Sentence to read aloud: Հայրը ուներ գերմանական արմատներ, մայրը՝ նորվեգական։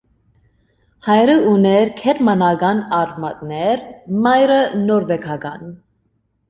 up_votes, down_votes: 2, 0